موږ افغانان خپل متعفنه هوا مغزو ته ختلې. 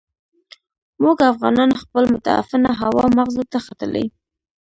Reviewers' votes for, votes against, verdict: 1, 2, rejected